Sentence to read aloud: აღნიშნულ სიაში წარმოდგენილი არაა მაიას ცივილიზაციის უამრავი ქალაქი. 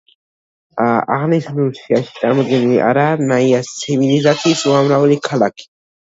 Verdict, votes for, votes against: rejected, 0, 2